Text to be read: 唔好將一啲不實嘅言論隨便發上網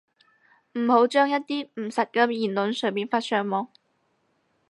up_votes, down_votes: 0, 6